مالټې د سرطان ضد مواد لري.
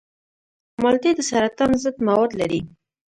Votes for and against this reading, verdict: 2, 1, accepted